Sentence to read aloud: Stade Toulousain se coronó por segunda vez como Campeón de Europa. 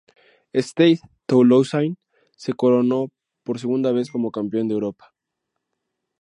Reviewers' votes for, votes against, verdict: 2, 0, accepted